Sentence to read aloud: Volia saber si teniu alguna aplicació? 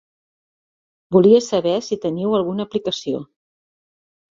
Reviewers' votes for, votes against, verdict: 2, 0, accepted